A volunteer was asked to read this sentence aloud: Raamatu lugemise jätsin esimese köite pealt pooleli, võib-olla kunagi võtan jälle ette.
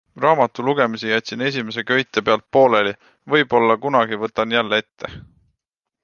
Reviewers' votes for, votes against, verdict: 2, 1, accepted